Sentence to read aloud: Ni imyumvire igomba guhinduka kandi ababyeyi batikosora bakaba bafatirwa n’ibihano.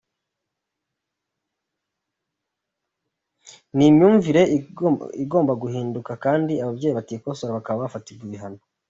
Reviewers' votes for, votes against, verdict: 2, 1, accepted